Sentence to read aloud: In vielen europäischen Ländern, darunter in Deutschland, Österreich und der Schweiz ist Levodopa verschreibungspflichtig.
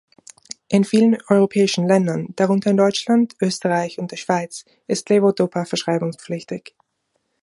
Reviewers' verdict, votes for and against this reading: accepted, 2, 0